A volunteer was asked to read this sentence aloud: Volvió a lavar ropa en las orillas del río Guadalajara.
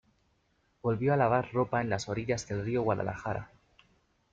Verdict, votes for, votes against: accepted, 2, 0